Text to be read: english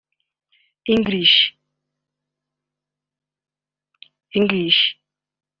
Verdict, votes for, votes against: rejected, 1, 2